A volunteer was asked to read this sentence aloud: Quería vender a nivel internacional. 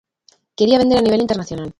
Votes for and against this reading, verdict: 0, 2, rejected